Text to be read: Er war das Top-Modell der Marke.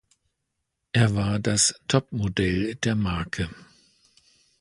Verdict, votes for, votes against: rejected, 0, 2